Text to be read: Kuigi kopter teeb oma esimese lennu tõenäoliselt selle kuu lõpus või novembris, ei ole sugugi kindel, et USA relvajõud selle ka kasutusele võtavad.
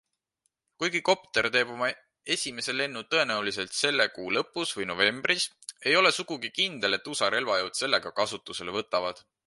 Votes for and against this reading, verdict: 2, 0, accepted